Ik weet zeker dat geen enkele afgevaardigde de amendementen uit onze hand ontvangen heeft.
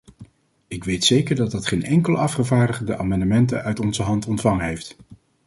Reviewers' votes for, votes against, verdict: 0, 2, rejected